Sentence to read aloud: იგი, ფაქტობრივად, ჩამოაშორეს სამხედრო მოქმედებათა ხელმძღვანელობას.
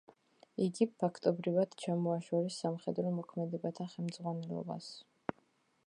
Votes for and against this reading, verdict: 2, 0, accepted